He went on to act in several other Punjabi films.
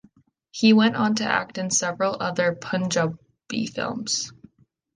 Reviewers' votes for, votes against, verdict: 0, 3, rejected